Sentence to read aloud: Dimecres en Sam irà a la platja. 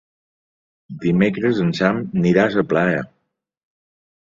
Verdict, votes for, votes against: rejected, 0, 2